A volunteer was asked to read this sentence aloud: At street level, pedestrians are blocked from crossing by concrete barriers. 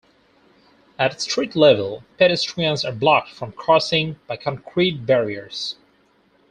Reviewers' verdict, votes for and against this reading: rejected, 0, 2